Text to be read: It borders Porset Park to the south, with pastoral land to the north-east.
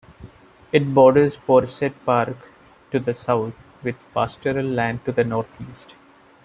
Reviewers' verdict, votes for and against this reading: accepted, 2, 0